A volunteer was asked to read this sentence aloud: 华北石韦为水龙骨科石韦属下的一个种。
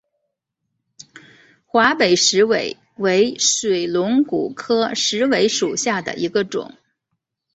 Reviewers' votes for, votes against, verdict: 3, 1, accepted